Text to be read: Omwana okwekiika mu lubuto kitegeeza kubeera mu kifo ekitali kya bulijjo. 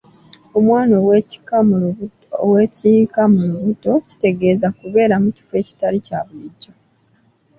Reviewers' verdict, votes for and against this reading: rejected, 0, 2